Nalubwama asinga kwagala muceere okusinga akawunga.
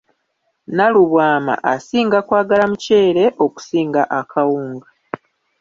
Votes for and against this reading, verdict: 1, 2, rejected